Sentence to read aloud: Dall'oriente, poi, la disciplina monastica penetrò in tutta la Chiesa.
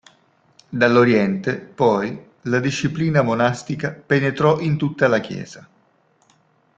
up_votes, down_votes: 2, 0